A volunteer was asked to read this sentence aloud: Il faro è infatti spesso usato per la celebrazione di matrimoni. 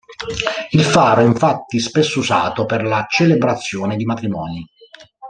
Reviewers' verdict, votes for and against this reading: rejected, 1, 2